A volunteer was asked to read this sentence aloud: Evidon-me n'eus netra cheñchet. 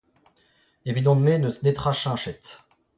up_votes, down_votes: 2, 1